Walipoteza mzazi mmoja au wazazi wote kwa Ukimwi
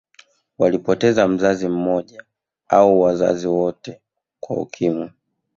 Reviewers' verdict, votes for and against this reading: accepted, 2, 0